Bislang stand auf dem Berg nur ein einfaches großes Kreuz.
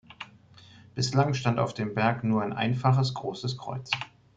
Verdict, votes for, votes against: accepted, 2, 0